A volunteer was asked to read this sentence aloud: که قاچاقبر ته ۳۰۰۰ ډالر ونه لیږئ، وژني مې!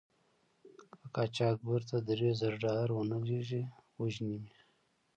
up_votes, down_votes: 0, 2